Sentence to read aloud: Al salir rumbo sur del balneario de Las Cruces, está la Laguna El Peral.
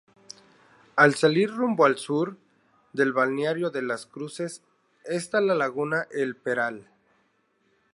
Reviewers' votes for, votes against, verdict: 4, 0, accepted